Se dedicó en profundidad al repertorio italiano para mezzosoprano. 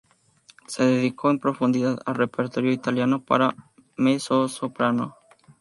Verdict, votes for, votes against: accepted, 2, 0